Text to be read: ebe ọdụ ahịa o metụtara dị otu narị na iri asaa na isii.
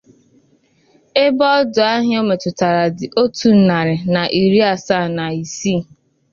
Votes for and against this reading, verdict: 9, 0, accepted